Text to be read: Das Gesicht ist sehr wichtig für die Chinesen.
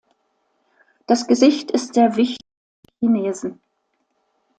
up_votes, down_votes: 0, 2